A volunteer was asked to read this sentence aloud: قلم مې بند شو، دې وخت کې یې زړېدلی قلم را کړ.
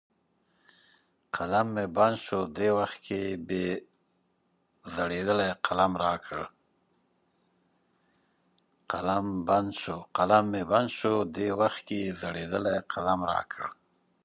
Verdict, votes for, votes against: rejected, 1, 2